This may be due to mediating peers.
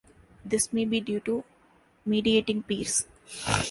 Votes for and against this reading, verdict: 1, 2, rejected